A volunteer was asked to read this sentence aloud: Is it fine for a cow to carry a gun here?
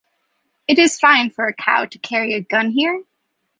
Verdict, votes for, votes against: rejected, 0, 2